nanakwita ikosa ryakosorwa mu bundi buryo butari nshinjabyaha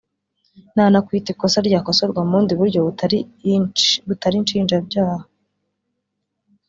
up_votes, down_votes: 1, 2